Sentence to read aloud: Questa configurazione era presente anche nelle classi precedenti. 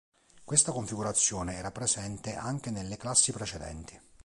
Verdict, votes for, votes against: accepted, 2, 0